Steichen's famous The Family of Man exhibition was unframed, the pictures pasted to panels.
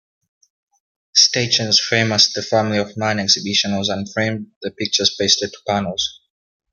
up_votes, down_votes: 0, 2